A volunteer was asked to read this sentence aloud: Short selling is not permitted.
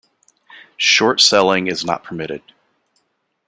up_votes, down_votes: 2, 0